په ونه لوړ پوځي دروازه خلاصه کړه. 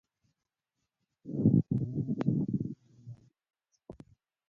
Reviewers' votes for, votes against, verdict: 0, 2, rejected